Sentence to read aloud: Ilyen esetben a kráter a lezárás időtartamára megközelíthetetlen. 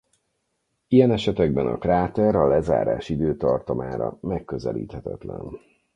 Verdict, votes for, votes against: rejected, 2, 4